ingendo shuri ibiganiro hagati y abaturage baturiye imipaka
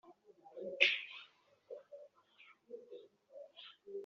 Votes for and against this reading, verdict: 1, 2, rejected